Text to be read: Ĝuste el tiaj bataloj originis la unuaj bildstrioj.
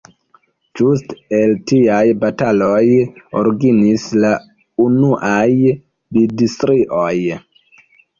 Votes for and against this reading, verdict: 1, 2, rejected